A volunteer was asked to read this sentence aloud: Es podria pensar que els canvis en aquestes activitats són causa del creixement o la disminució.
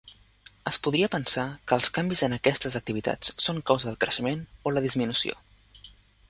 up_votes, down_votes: 3, 0